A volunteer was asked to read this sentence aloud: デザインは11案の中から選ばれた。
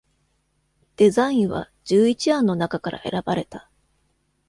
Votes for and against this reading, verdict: 0, 2, rejected